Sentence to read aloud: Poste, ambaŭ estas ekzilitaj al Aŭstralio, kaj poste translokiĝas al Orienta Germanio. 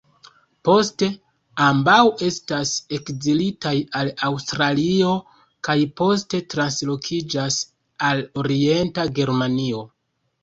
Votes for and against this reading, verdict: 1, 2, rejected